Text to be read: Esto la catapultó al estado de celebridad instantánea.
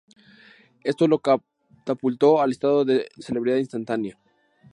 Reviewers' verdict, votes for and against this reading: rejected, 0, 2